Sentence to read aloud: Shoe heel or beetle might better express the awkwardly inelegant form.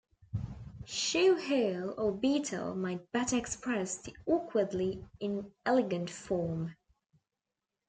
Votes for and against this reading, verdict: 2, 0, accepted